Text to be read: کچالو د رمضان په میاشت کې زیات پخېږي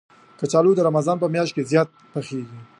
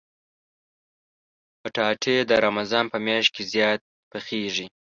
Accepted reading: first